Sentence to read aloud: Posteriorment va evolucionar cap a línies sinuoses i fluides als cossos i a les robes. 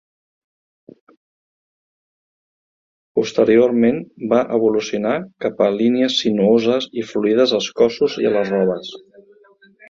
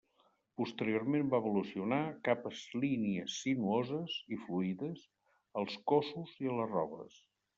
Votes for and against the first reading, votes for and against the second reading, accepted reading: 3, 0, 1, 2, first